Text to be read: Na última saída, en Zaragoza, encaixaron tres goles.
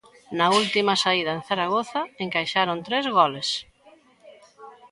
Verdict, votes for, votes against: accepted, 2, 0